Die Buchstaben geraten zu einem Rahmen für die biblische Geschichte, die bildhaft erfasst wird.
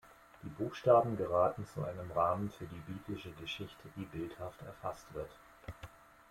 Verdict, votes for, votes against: accepted, 2, 0